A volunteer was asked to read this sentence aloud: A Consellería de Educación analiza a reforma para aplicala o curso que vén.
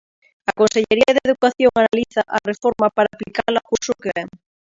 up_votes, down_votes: 0, 2